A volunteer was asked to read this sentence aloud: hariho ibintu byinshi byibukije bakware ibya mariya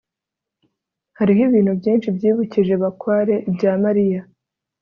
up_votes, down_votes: 2, 0